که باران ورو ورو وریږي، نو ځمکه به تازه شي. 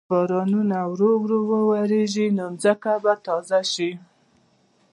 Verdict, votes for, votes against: rejected, 0, 2